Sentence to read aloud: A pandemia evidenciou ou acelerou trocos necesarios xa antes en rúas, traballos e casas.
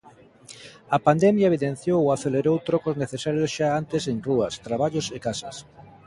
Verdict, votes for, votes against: accepted, 2, 0